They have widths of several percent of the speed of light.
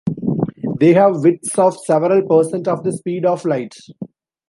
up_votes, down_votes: 2, 0